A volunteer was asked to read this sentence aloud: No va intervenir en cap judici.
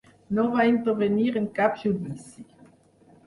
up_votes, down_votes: 4, 0